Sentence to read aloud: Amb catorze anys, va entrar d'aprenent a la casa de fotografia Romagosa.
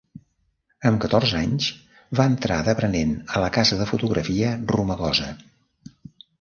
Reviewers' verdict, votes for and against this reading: accepted, 2, 0